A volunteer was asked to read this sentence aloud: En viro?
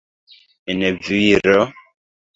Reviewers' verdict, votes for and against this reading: accepted, 3, 2